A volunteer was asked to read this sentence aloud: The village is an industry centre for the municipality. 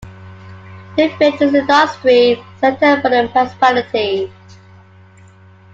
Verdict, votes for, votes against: accepted, 2, 1